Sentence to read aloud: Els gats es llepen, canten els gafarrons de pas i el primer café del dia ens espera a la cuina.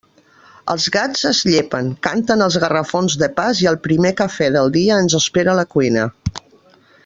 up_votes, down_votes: 0, 2